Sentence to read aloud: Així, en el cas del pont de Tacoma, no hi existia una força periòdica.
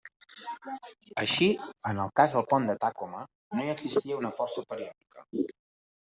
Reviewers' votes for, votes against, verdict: 0, 2, rejected